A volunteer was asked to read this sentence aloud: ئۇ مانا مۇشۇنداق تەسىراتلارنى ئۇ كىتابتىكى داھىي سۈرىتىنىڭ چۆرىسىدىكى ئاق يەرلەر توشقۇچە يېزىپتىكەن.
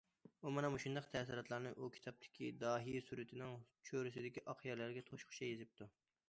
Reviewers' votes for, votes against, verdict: 0, 2, rejected